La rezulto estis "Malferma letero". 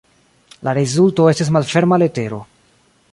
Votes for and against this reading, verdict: 2, 0, accepted